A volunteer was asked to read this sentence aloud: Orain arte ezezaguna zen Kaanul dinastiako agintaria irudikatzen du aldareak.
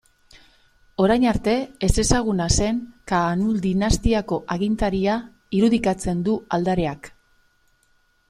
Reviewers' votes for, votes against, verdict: 2, 0, accepted